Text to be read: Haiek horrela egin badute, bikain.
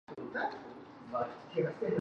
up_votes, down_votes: 0, 3